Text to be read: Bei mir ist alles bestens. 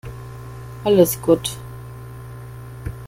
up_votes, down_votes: 0, 2